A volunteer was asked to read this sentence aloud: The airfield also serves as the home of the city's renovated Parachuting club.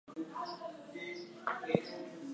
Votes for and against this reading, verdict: 0, 2, rejected